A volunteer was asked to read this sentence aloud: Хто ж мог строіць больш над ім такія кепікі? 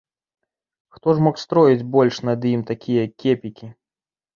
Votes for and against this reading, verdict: 2, 0, accepted